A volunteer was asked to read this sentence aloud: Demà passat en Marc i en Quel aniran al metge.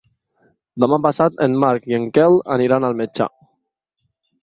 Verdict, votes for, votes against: accepted, 2, 0